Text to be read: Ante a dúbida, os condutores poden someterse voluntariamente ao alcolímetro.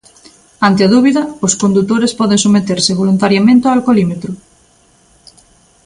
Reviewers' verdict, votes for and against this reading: accepted, 2, 0